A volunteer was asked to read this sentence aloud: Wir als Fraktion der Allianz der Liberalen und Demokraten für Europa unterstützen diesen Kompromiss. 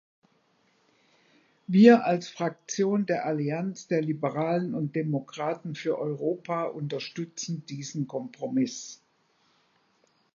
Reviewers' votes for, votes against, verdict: 2, 0, accepted